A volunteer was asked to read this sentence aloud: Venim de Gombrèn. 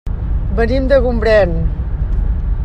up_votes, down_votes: 3, 0